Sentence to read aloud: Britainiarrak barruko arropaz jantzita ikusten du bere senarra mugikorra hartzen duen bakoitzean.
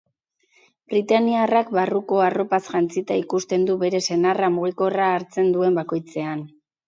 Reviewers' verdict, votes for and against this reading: accepted, 8, 0